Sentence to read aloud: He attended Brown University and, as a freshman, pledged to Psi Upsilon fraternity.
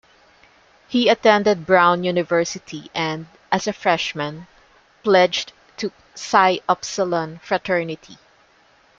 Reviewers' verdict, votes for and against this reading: accepted, 2, 0